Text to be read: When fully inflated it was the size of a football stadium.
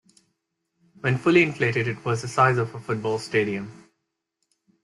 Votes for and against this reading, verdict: 2, 0, accepted